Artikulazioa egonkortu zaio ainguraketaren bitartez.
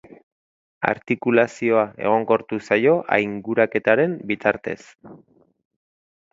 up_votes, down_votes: 2, 0